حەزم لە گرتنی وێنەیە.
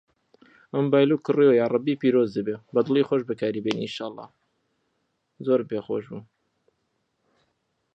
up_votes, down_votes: 0, 2